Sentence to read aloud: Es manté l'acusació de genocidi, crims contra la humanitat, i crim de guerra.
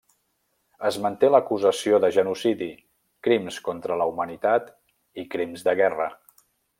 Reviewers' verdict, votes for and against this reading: rejected, 0, 2